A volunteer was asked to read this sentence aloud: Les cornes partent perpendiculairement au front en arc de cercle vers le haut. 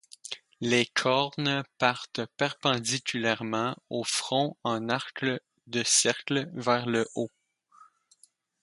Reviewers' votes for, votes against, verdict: 0, 4, rejected